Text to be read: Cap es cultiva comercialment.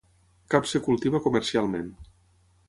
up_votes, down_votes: 6, 3